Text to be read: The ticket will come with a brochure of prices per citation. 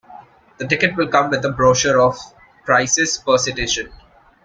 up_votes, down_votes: 2, 0